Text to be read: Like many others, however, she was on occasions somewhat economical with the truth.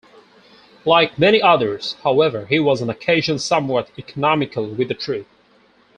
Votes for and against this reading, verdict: 0, 4, rejected